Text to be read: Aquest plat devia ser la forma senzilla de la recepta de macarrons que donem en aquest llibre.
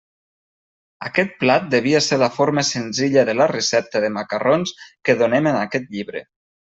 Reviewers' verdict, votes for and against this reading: accepted, 2, 0